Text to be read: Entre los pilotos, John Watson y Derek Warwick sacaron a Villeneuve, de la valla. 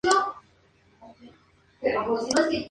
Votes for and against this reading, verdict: 0, 2, rejected